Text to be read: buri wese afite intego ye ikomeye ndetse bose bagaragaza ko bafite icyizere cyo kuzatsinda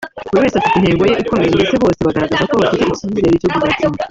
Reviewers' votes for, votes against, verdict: 0, 3, rejected